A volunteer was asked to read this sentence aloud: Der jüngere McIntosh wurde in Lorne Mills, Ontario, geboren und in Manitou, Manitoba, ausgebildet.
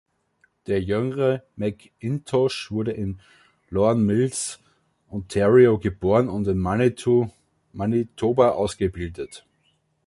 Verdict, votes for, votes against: rejected, 1, 2